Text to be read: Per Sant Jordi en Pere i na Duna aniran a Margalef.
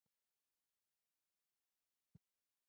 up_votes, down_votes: 0, 2